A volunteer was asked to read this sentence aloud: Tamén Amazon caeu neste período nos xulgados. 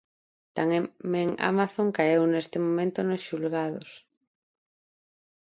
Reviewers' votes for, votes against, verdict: 0, 2, rejected